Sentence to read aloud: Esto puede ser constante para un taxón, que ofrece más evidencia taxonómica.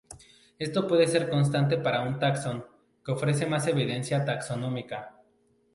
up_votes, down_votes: 2, 0